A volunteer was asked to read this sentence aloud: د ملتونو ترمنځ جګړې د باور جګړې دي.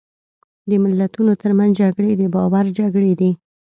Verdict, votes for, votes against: accepted, 2, 0